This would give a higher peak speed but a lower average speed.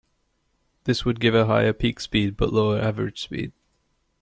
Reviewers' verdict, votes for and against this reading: accepted, 2, 0